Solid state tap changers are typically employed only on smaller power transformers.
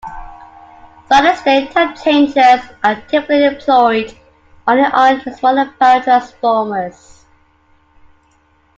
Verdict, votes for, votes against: rejected, 0, 2